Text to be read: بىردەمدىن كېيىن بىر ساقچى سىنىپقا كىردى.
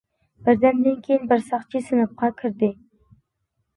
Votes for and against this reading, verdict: 2, 0, accepted